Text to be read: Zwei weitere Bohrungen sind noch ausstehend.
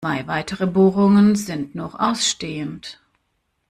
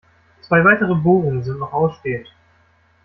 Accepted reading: second